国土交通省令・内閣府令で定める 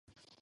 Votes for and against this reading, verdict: 0, 2, rejected